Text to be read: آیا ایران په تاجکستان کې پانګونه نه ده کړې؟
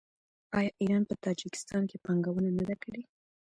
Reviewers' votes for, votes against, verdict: 0, 2, rejected